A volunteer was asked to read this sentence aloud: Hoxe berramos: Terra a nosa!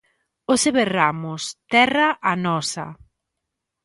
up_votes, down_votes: 2, 0